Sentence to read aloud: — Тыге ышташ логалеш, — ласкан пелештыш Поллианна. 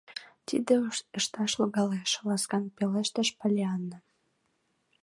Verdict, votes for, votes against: rejected, 0, 2